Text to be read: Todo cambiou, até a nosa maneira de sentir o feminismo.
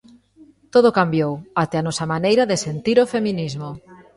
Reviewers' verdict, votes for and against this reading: rejected, 1, 2